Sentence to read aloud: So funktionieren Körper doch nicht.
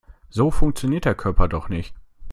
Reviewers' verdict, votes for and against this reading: rejected, 0, 2